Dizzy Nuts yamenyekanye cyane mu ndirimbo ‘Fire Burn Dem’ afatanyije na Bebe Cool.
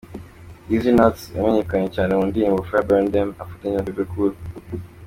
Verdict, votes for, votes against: accepted, 2, 0